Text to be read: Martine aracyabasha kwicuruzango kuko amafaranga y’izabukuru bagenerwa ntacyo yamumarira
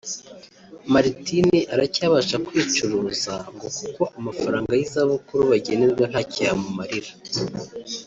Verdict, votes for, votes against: rejected, 0, 2